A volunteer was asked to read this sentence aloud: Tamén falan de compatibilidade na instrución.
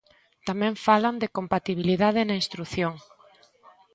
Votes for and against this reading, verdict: 3, 0, accepted